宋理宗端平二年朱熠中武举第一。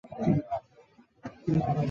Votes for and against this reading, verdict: 0, 2, rejected